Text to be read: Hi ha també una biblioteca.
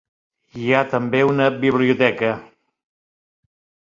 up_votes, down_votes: 4, 0